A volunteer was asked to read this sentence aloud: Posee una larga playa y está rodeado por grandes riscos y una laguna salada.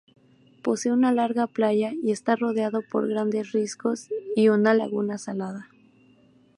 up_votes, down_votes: 2, 0